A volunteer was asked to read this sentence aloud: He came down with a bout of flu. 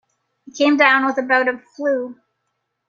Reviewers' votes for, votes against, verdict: 2, 0, accepted